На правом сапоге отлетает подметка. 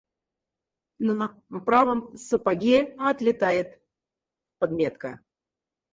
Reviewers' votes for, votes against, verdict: 0, 4, rejected